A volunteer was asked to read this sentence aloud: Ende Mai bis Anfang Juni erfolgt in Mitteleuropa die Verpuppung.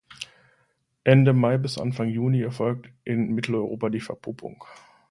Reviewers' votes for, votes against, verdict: 2, 0, accepted